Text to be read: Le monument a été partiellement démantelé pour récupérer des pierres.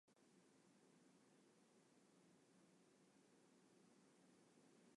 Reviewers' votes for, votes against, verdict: 0, 2, rejected